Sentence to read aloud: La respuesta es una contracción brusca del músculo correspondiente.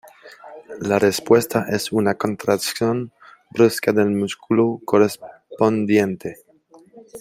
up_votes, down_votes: 1, 2